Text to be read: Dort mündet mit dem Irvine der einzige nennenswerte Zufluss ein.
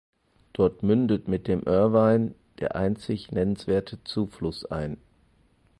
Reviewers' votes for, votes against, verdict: 2, 4, rejected